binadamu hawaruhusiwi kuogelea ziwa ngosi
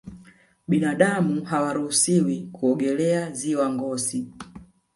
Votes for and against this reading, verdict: 1, 2, rejected